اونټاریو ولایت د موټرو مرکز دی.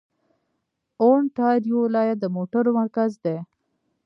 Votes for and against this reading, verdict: 1, 2, rejected